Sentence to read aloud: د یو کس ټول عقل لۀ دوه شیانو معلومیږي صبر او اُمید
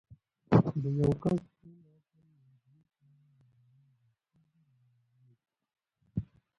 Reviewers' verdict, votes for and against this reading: rejected, 0, 2